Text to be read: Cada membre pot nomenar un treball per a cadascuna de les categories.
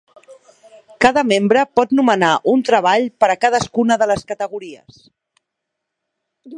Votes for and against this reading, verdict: 2, 0, accepted